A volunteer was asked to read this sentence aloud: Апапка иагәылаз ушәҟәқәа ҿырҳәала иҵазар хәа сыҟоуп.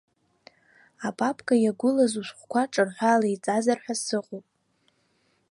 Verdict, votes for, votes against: accepted, 2, 0